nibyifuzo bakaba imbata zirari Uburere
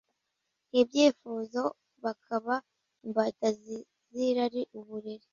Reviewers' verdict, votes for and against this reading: rejected, 0, 2